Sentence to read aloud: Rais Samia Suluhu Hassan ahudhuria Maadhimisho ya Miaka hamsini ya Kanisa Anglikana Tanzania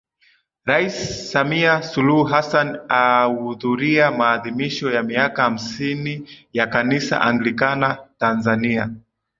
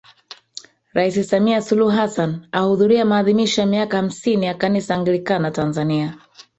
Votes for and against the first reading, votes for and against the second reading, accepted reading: 2, 0, 0, 3, first